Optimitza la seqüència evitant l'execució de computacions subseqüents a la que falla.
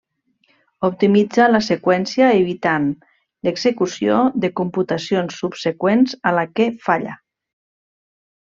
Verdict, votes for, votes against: accepted, 3, 0